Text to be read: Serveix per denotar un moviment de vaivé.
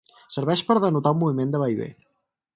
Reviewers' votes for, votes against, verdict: 4, 0, accepted